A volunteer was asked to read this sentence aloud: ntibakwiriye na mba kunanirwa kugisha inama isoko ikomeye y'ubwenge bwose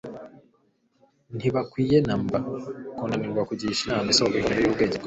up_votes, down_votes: 1, 2